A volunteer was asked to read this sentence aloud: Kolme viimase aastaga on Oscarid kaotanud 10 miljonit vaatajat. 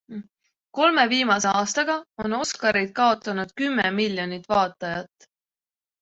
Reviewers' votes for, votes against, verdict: 0, 2, rejected